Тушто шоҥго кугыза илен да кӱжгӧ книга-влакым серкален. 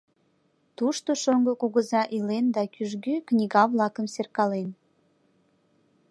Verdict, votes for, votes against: accepted, 2, 1